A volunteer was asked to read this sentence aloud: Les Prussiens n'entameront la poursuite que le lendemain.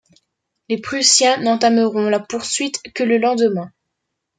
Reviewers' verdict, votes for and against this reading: accepted, 2, 0